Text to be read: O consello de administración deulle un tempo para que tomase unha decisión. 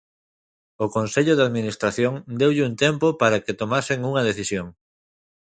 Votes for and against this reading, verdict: 1, 2, rejected